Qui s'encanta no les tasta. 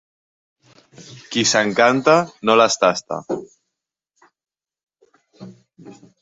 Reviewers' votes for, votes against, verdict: 3, 0, accepted